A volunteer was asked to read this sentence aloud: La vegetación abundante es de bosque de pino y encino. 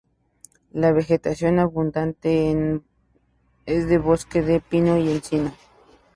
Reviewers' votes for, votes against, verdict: 2, 2, rejected